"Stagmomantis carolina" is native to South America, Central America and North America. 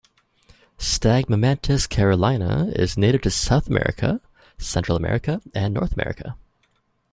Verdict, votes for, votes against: accepted, 2, 0